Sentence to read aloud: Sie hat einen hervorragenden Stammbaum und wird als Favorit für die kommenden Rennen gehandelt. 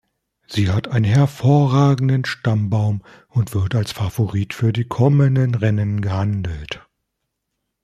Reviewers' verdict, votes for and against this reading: rejected, 1, 2